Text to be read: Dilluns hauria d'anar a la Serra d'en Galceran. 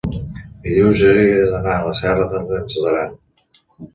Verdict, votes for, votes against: rejected, 2, 3